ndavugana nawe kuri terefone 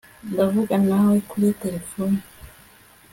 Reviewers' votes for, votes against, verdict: 2, 0, accepted